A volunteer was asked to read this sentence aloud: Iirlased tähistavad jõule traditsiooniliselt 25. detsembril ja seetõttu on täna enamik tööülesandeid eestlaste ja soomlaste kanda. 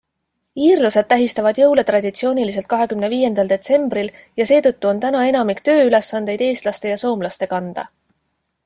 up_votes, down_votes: 0, 2